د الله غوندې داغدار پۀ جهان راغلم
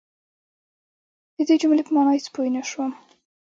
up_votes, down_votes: 2, 0